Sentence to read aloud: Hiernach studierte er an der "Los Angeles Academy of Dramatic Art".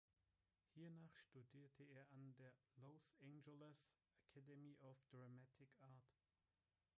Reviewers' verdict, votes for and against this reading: rejected, 1, 2